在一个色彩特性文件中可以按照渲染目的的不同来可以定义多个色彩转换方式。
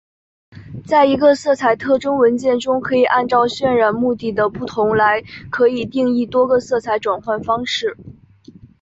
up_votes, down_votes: 5, 0